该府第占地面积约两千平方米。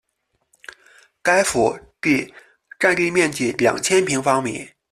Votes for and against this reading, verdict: 0, 2, rejected